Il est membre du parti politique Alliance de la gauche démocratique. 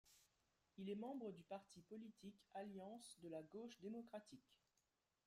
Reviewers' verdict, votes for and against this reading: accepted, 2, 0